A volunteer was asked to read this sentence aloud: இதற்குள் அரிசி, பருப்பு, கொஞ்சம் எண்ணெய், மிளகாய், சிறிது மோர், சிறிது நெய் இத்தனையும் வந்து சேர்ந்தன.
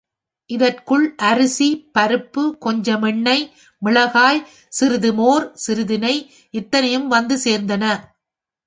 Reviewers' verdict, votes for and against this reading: accepted, 3, 0